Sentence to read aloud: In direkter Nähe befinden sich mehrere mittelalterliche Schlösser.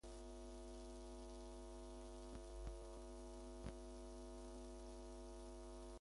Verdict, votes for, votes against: rejected, 0, 2